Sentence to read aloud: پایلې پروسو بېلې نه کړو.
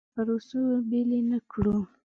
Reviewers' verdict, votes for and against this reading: rejected, 0, 2